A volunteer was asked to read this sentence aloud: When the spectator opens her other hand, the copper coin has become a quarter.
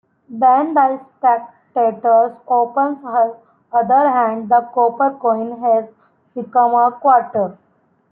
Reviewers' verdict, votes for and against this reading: rejected, 0, 2